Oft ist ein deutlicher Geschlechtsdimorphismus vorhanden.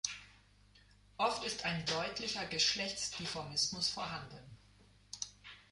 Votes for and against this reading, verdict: 0, 2, rejected